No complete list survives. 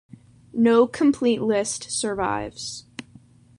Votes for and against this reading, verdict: 2, 0, accepted